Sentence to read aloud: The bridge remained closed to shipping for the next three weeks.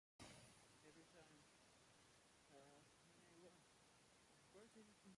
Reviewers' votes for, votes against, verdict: 0, 2, rejected